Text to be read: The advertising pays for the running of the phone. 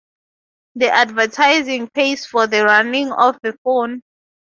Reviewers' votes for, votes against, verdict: 2, 0, accepted